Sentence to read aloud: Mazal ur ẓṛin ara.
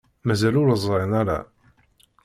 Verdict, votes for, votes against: accepted, 2, 0